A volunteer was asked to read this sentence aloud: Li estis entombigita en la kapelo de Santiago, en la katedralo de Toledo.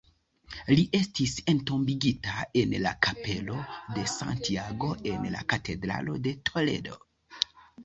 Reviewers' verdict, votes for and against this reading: accepted, 2, 0